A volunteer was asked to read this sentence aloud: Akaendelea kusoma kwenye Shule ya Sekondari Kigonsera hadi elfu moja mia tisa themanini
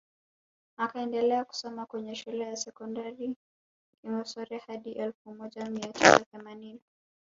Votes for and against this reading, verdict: 2, 1, accepted